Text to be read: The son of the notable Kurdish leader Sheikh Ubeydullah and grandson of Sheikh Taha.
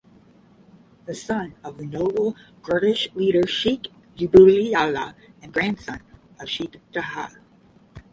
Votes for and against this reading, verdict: 5, 5, rejected